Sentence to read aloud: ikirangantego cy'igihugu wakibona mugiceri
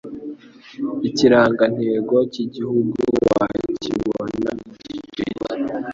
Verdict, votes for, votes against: accepted, 2, 0